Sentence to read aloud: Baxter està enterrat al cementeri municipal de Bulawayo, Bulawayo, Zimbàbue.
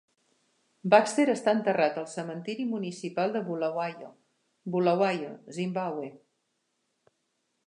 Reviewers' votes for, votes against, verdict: 1, 2, rejected